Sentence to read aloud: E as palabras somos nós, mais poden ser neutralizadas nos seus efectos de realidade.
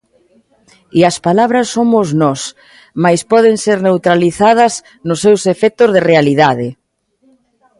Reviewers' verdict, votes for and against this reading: accepted, 2, 0